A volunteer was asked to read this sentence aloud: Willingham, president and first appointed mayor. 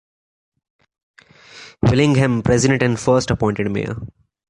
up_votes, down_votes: 2, 0